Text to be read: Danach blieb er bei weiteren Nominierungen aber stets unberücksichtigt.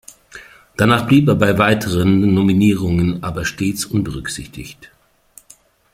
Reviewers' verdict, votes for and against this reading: accepted, 2, 0